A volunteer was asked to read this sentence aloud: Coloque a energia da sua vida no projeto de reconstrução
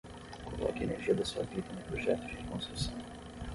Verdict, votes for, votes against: rejected, 3, 3